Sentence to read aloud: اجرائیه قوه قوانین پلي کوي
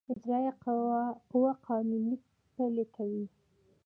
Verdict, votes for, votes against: accepted, 2, 1